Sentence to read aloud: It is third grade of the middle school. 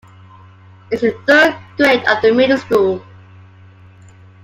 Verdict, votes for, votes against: accepted, 2, 0